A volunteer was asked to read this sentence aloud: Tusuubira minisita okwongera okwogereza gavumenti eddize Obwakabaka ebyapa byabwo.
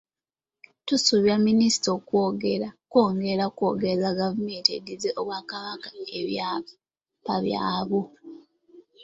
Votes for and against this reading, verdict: 0, 2, rejected